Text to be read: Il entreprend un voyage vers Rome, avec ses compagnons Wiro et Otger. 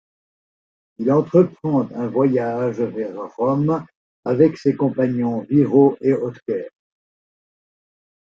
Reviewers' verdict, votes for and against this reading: accepted, 2, 1